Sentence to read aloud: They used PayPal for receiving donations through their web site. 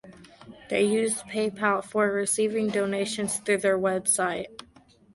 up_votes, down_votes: 2, 0